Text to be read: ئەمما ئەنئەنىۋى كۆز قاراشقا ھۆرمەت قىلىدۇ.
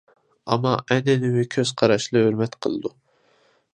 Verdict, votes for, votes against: rejected, 0, 2